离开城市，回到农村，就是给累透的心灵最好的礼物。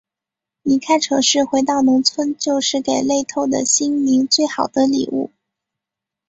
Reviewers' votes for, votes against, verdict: 5, 0, accepted